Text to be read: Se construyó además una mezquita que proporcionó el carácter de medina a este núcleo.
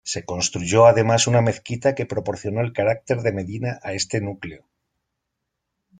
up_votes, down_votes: 2, 0